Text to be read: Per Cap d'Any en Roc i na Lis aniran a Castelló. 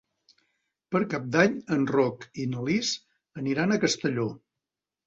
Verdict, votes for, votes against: accepted, 3, 0